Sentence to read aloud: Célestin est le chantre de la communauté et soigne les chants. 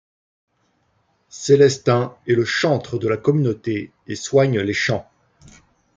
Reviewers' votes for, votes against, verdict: 1, 2, rejected